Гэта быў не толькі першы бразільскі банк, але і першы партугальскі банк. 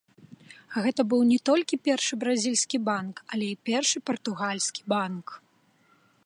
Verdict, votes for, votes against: accepted, 2, 0